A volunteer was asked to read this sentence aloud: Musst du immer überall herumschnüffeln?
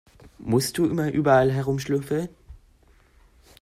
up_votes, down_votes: 1, 2